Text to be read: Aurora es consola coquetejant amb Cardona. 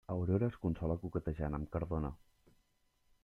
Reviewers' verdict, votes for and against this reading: accepted, 3, 0